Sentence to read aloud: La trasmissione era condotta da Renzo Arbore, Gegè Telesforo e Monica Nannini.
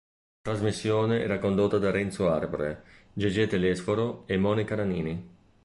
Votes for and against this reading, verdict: 1, 2, rejected